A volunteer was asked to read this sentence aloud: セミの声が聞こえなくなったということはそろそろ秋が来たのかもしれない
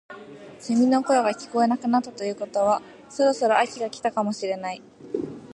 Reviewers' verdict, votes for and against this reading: accepted, 2, 0